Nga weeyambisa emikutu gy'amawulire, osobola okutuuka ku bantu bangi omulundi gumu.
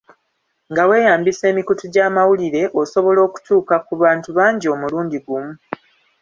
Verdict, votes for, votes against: accepted, 2, 0